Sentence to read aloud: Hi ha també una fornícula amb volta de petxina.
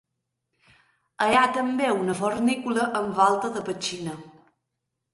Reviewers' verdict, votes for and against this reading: rejected, 1, 3